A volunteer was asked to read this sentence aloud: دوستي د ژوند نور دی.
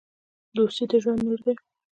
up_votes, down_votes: 2, 0